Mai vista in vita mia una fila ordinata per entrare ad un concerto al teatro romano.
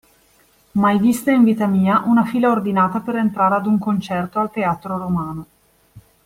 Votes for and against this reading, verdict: 2, 0, accepted